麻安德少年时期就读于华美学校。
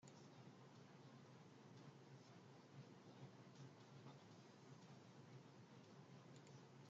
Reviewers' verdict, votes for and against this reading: rejected, 0, 2